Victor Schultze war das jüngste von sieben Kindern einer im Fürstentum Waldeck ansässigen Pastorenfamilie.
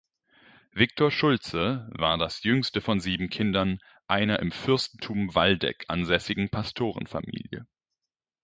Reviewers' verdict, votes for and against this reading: accepted, 2, 0